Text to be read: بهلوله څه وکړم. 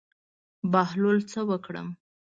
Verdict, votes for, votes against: accepted, 2, 0